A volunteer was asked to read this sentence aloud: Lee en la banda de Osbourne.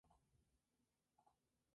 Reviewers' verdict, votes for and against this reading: rejected, 0, 2